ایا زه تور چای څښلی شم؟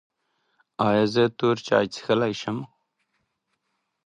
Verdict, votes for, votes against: rejected, 0, 2